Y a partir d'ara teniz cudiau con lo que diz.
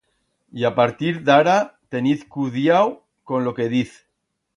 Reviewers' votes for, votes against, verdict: 2, 0, accepted